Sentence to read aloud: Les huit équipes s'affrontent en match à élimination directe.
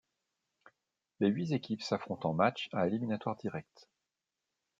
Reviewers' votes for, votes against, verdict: 0, 2, rejected